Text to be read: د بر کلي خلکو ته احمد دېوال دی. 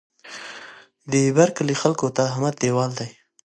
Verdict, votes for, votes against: accepted, 2, 0